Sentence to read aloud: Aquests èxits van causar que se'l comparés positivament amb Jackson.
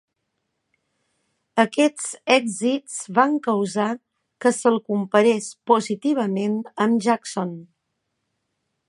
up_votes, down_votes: 4, 1